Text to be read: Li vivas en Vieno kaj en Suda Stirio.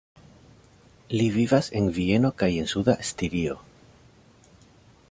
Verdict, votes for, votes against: accepted, 2, 0